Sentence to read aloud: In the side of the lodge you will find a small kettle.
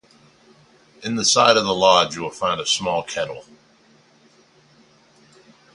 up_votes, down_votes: 2, 2